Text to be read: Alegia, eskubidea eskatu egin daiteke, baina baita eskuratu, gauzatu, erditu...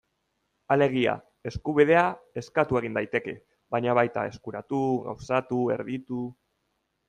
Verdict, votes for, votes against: accepted, 2, 0